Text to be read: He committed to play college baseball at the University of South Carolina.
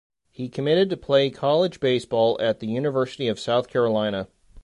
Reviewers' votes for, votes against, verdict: 2, 0, accepted